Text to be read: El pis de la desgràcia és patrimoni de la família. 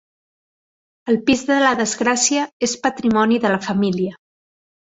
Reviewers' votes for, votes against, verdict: 3, 0, accepted